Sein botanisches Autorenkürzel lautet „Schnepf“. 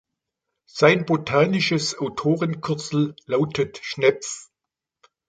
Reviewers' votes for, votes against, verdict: 2, 0, accepted